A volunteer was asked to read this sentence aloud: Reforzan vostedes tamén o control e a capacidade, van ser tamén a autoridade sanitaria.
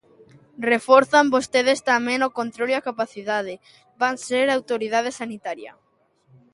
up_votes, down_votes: 0, 2